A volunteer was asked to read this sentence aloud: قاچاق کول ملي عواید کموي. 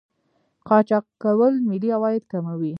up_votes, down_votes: 0, 2